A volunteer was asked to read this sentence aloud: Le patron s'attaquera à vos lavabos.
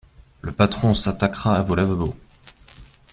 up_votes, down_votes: 1, 2